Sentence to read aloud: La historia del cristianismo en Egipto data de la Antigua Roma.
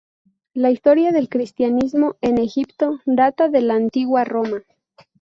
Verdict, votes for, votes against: accepted, 2, 0